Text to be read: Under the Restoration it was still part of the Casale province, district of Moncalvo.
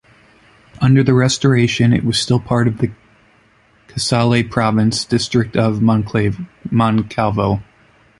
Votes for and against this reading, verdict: 1, 2, rejected